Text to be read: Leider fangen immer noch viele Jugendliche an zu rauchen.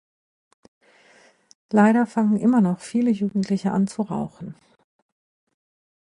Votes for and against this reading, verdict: 2, 0, accepted